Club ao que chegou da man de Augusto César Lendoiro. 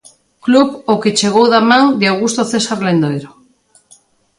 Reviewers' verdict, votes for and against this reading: accepted, 2, 0